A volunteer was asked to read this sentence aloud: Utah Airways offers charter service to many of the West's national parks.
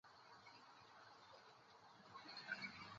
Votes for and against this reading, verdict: 0, 2, rejected